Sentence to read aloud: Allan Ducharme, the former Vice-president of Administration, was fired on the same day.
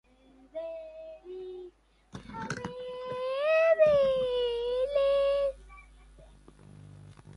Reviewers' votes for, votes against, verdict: 1, 2, rejected